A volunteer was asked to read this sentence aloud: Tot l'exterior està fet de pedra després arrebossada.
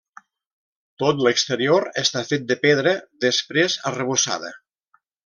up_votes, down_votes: 3, 0